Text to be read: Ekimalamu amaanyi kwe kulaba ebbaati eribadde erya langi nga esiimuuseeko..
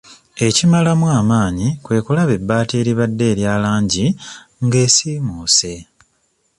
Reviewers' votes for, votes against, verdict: 0, 2, rejected